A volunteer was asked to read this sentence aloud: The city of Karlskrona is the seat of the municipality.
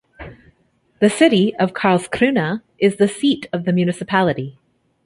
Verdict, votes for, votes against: accepted, 2, 0